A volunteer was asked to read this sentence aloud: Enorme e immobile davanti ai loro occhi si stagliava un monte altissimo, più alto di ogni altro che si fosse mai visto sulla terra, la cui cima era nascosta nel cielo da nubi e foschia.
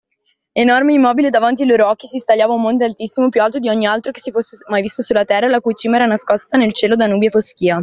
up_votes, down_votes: 2, 0